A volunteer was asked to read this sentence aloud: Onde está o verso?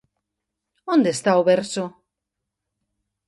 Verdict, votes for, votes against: accepted, 2, 0